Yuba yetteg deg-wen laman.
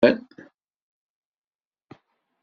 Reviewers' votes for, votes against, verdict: 0, 2, rejected